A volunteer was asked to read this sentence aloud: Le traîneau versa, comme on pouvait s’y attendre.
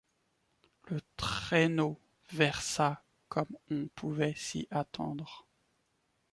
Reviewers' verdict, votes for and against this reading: rejected, 0, 2